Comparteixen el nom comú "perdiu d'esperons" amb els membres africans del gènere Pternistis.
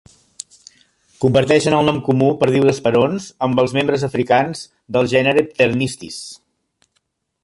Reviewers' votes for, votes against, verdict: 2, 0, accepted